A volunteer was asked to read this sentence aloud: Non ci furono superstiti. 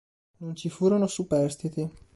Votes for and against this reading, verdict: 2, 0, accepted